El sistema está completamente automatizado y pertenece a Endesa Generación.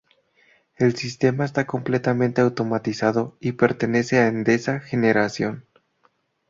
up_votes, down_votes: 2, 0